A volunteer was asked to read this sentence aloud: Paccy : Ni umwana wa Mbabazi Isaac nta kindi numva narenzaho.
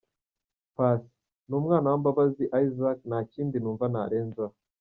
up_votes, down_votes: 0, 2